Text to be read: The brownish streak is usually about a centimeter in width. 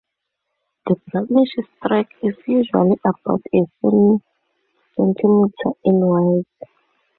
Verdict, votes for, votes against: rejected, 0, 2